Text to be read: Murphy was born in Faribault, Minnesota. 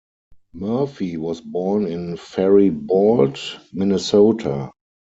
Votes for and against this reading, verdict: 4, 0, accepted